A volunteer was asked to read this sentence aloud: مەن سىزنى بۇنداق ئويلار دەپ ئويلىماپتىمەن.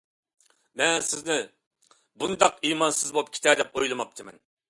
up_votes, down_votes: 0, 2